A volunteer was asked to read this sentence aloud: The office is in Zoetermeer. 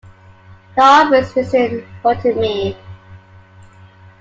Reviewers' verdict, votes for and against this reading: rejected, 1, 2